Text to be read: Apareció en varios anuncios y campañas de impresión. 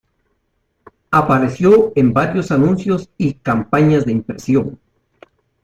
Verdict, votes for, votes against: accepted, 2, 0